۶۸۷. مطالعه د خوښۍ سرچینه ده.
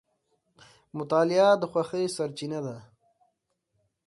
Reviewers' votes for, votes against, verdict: 0, 2, rejected